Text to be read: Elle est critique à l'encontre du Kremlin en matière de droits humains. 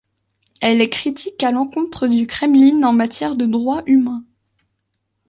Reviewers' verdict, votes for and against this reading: rejected, 1, 2